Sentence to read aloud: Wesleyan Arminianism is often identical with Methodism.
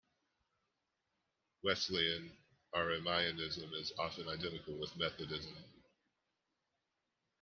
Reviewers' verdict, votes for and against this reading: rejected, 0, 2